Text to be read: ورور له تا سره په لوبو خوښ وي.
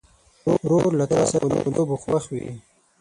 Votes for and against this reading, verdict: 3, 6, rejected